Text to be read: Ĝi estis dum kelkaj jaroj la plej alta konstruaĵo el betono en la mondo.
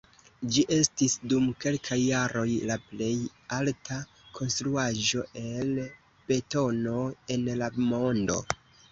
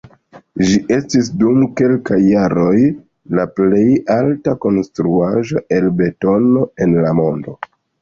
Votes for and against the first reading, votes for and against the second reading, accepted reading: 2, 0, 1, 2, first